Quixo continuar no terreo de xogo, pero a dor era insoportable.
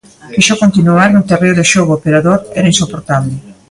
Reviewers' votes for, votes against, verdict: 2, 0, accepted